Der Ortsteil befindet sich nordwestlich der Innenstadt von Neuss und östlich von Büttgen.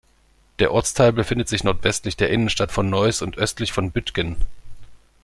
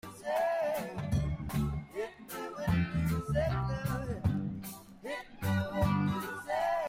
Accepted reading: first